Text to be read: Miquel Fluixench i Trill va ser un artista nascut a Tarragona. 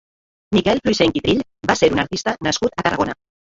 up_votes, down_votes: 0, 2